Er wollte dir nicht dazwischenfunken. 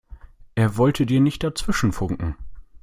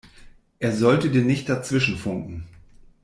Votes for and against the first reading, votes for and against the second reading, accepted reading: 2, 0, 0, 2, first